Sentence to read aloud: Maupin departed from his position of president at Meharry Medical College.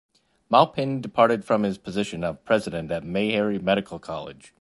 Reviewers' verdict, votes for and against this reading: accepted, 2, 1